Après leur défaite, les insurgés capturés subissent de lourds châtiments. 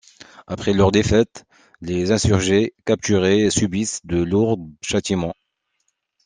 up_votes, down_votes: 2, 0